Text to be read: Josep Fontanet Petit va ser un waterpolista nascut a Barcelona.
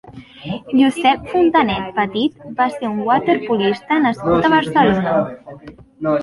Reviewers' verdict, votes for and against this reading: rejected, 1, 2